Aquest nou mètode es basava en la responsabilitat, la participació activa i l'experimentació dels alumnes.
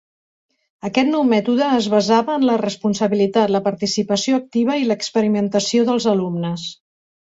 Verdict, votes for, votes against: accepted, 2, 0